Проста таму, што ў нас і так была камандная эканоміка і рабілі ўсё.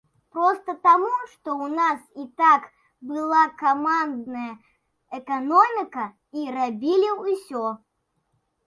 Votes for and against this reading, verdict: 2, 0, accepted